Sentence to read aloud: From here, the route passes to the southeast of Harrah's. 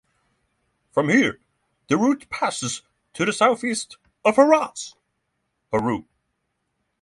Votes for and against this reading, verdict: 3, 0, accepted